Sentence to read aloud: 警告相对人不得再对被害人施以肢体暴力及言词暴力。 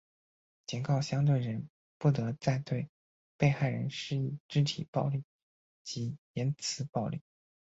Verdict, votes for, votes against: accepted, 6, 2